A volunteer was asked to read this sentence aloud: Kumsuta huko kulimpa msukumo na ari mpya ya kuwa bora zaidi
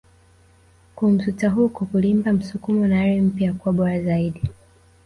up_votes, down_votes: 1, 2